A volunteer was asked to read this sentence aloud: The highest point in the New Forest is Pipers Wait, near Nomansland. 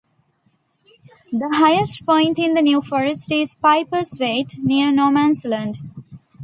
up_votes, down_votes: 2, 1